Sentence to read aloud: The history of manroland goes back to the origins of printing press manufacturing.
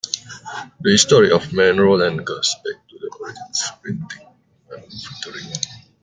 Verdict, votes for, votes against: rejected, 1, 2